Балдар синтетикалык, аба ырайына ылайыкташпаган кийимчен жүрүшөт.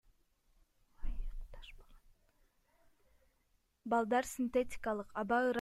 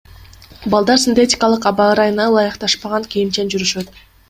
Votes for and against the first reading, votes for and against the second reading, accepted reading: 0, 2, 2, 0, second